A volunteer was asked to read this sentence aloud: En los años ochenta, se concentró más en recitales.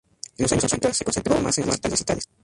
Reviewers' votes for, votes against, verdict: 0, 2, rejected